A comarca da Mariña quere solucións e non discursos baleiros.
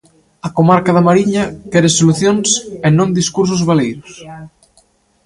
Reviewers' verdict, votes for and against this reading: rejected, 1, 2